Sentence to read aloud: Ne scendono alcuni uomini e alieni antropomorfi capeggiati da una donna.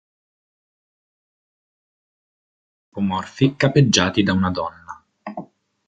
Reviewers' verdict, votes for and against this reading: rejected, 0, 2